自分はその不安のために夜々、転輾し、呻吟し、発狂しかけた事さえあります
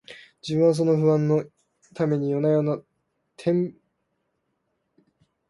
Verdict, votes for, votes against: rejected, 0, 2